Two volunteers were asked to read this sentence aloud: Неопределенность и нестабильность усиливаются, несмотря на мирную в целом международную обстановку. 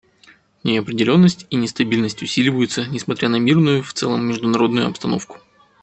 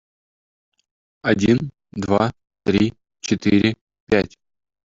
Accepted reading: first